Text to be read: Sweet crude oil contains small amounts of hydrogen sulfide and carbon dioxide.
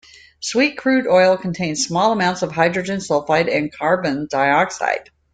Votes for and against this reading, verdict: 2, 0, accepted